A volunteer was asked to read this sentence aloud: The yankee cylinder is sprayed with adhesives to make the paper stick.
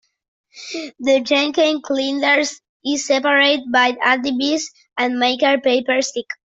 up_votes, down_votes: 0, 2